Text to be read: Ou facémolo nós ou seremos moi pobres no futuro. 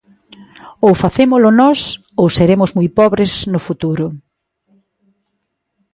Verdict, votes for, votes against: accepted, 3, 0